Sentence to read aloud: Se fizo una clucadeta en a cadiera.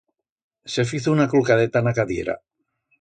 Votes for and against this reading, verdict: 2, 0, accepted